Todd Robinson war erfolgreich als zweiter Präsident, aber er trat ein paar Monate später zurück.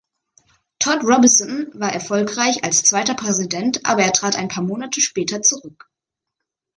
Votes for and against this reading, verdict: 2, 0, accepted